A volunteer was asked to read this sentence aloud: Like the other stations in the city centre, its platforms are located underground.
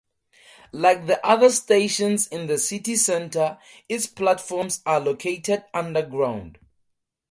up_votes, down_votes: 4, 0